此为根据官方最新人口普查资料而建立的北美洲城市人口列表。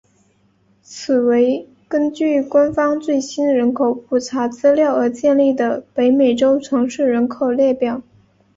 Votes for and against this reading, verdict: 2, 0, accepted